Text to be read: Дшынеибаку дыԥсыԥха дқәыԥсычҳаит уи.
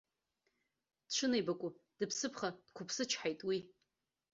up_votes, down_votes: 2, 1